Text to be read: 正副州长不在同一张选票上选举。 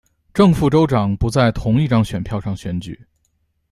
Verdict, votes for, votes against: accepted, 2, 0